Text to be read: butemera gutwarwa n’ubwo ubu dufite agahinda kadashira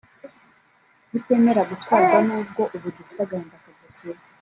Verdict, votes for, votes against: rejected, 1, 2